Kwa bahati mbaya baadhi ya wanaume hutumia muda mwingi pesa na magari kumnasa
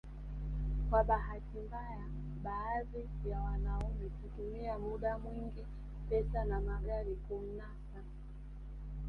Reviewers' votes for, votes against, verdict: 2, 0, accepted